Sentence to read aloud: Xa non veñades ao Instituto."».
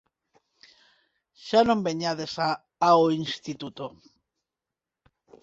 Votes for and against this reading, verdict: 0, 4, rejected